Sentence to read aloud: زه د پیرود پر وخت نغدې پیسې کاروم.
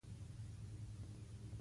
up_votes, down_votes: 1, 3